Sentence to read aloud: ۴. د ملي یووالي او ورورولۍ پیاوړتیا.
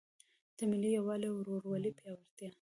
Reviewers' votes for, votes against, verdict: 0, 2, rejected